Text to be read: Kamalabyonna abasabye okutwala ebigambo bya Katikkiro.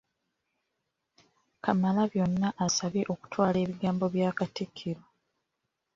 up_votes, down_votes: 0, 2